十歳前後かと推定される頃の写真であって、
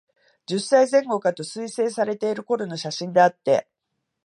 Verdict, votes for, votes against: rejected, 0, 2